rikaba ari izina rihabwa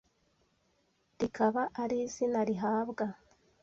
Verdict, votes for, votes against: accepted, 2, 0